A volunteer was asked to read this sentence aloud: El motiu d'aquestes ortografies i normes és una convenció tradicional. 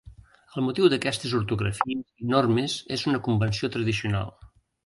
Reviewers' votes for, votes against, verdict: 0, 2, rejected